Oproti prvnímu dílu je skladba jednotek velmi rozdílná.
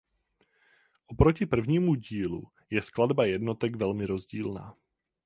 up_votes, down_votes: 4, 0